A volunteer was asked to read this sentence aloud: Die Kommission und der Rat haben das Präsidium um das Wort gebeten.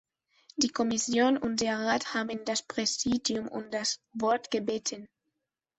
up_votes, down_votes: 1, 2